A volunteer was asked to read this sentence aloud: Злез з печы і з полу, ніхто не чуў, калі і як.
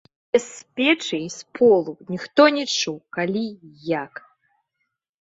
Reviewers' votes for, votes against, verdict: 0, 2, rejected